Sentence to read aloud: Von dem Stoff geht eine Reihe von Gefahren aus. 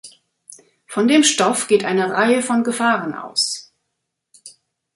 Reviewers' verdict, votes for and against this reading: accepted, 2, 0